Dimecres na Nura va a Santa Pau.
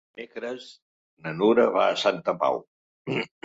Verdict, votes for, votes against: rejected, 1, 2